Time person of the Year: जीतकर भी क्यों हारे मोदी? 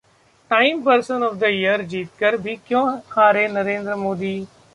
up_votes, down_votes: 0, 2